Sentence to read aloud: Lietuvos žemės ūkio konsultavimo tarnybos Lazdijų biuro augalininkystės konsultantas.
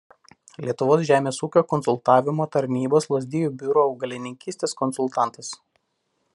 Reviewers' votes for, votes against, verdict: 1, 2, rejected